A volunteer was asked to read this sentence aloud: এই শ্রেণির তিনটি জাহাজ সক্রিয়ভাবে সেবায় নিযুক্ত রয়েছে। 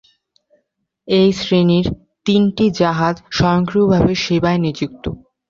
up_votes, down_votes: 0, 2